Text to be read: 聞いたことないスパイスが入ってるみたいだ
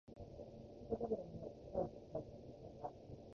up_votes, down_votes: 0, 2